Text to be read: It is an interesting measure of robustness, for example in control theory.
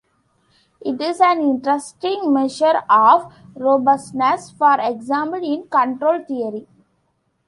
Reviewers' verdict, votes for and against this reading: rejected, 1, 2